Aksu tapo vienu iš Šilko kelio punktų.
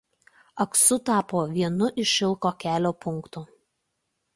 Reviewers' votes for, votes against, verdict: 2, 0, accepted